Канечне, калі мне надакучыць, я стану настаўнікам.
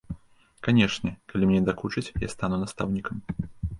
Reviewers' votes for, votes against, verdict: 1, 2, rejected